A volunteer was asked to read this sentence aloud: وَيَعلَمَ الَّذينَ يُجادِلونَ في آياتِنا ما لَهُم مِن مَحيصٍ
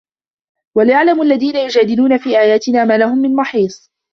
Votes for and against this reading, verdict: 2, 1, accepted